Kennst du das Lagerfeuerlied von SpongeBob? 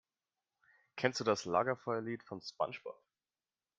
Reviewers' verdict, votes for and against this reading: accepted, 2, 0